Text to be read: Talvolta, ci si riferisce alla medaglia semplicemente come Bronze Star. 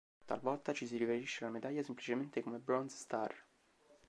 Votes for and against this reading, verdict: 2, 0, accepted